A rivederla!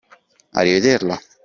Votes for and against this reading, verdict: 2, 1, accepted